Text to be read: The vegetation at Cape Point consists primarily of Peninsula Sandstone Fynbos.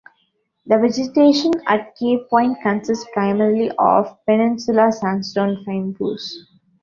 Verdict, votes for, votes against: accepted, 2, 0